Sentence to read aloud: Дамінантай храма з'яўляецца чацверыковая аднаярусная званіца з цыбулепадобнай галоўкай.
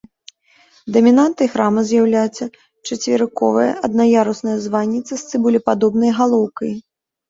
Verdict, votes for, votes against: accepted, 2, 0